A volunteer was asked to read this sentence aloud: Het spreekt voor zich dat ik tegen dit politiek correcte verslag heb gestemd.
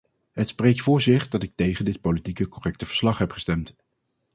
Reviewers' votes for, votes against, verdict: 0, 2, rejected